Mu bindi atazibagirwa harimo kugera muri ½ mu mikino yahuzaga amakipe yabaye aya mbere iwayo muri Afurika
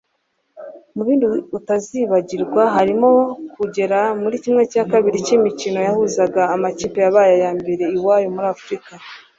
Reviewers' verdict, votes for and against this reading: rejected, 1, 2